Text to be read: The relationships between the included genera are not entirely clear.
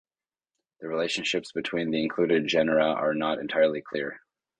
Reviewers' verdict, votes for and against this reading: accepted, 2, 0